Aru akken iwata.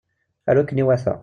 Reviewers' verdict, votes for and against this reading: accepted, 2, 0